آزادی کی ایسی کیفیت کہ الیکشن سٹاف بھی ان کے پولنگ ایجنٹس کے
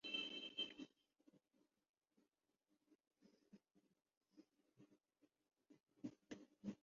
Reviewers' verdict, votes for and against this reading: rejected, 0, 2